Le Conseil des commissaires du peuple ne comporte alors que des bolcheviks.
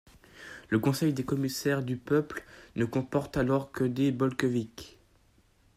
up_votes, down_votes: 2, 1